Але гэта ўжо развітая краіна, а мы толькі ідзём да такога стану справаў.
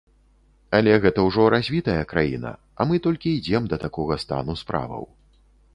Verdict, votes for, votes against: rejected, 1, 2